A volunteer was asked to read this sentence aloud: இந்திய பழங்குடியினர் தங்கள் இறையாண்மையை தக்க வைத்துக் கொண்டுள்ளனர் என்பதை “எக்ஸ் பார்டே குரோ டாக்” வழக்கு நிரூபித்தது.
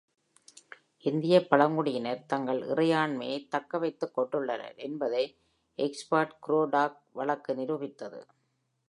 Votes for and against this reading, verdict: 1, 2, rejected